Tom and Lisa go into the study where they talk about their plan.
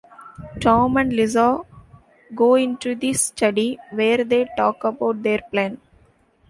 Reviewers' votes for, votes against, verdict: 2, 1, accepted